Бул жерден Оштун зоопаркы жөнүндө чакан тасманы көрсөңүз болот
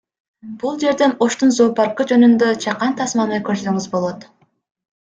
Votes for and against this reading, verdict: 2, 0, accepted